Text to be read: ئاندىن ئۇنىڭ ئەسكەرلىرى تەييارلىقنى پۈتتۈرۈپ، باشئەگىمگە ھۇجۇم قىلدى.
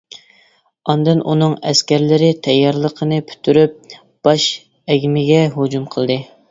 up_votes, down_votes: 0, 2